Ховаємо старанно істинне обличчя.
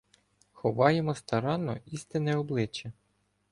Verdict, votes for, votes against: accepted, 2, 0